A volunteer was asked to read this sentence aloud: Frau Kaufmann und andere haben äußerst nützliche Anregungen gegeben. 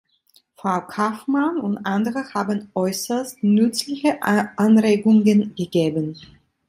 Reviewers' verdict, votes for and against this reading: rejected, 1, 2